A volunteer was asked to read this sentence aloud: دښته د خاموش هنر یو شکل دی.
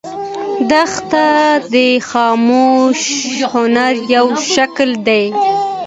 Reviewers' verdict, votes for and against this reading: accepted, 2, 0